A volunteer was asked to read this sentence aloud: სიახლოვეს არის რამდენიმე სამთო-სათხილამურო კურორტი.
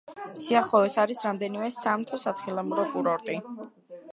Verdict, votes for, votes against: accepted, 2, 0